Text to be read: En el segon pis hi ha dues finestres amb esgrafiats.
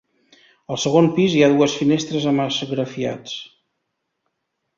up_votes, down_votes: 0, 2